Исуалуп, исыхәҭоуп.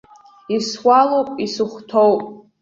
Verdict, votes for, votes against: accepted, 2, 0